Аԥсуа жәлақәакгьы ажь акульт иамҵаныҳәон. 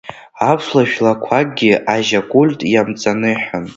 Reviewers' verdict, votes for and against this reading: rejected, 1, 2